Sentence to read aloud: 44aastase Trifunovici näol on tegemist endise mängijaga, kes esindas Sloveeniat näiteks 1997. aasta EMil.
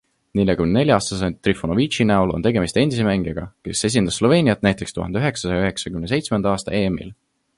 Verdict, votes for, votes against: rejected, 0, 2